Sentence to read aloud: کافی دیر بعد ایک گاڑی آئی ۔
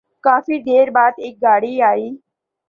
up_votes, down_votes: 2, 0